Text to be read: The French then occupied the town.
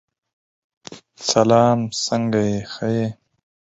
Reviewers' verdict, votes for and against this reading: rejected, 0, 4